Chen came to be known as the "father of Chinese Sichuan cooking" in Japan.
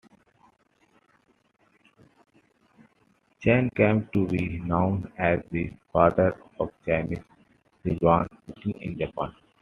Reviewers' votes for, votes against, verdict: 2, 1, accepted